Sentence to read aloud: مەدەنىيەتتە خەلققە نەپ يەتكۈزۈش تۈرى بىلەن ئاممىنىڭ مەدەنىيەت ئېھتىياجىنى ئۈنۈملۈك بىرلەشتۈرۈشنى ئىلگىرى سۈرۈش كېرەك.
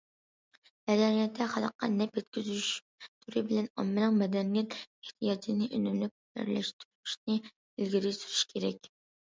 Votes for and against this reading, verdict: 2, 0, accepted